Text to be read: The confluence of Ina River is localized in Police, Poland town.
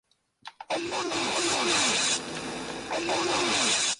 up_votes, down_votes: 0, 2